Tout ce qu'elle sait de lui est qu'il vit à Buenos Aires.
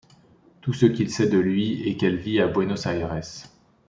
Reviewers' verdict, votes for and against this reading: rejected, 0, 2